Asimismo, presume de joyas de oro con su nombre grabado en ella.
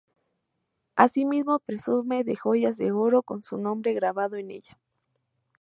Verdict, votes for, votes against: accepted, 2, 0